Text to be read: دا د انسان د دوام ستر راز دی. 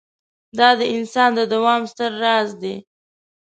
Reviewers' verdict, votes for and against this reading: accepted, 2, 0